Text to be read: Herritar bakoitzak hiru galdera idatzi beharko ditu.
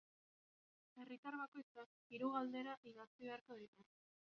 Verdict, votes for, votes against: rejected, 0, 2